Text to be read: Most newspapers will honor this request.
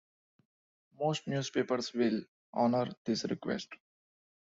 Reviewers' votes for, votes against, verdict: 2, 0, accepted